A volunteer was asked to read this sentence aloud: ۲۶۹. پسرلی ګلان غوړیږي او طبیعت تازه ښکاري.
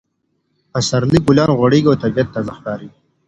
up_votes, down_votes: 0, 2